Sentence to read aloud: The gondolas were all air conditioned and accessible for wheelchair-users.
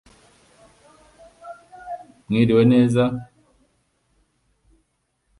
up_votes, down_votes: 0, 2